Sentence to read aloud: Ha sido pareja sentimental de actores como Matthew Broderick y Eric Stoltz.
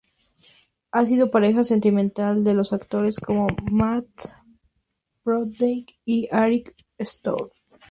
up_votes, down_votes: 0, 2